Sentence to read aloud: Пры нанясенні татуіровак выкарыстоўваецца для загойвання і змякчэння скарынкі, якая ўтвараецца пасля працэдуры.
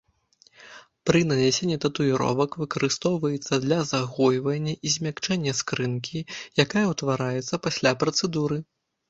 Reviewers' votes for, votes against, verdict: 0, 2, rejected